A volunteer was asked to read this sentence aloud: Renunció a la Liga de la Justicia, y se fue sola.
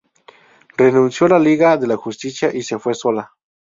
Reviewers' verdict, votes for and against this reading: accepted, 2, 0